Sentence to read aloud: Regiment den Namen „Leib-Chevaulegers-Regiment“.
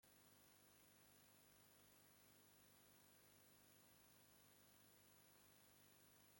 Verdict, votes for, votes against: rejected, 0, 2